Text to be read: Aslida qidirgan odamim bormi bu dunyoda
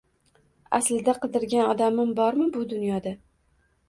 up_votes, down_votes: 2, 0